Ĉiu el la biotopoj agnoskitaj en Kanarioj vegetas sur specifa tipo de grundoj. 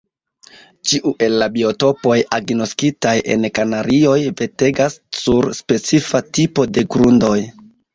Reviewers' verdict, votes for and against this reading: rejected, 1, 2